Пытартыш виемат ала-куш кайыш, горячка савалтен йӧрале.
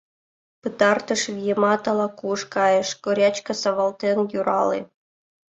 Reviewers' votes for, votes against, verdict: 0, 2, rejected